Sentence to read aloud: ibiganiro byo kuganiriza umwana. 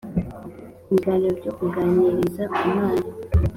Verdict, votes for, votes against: accepted, 2, 0